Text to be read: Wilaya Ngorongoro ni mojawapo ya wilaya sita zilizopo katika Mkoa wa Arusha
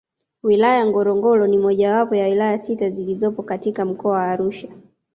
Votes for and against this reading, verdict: 2, 0, accepted